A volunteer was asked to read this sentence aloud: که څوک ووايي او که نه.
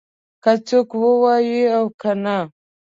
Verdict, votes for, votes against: accepted, 2, 0